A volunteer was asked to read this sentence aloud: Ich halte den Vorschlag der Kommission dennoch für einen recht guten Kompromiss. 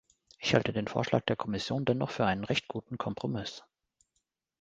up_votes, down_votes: 2, 0